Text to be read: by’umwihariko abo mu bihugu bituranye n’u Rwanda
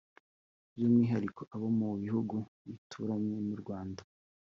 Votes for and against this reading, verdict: 2, 0, accepted